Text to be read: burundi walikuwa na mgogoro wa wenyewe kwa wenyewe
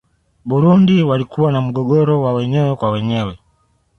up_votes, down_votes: 2, 0